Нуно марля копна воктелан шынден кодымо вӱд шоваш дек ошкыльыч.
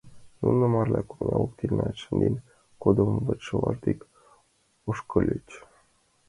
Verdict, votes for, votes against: rejected, 0, 2